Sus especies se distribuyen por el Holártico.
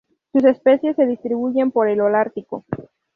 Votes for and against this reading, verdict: 0, 2, rejected